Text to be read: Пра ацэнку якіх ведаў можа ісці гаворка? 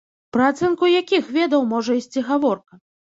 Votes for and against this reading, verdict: 0, 2, rejected